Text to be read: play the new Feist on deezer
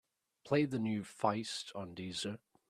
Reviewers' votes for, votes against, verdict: 3, 0, accepted